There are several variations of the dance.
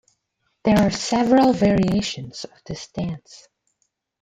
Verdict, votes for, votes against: rejected, 1, 2